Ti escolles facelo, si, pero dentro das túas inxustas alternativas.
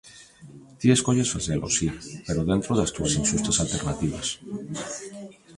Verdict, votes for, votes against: accepted, 2, 1